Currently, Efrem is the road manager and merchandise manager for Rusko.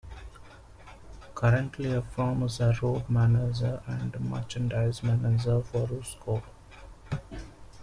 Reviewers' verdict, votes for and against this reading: accepted, 2, 0